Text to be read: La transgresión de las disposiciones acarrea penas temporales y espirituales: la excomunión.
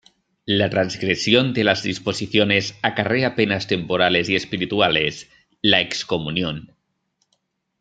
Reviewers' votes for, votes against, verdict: 2, 0, accepted